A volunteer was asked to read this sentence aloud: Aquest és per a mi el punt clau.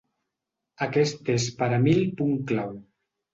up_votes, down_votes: 2, 3